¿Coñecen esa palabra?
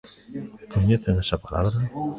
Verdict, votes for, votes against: rejected, 0, 2